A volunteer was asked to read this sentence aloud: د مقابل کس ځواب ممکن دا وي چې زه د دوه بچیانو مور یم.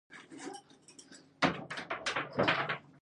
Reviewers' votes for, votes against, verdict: 0, 2, rejected